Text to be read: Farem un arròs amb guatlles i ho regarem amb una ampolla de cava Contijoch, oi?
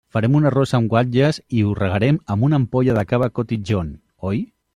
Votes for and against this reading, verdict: 0, 2, rejected